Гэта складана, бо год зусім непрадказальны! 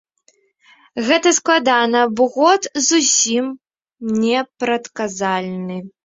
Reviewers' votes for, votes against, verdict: 2, 0, accepted